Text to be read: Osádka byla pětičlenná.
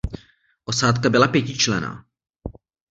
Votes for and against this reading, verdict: 1, 2, rejected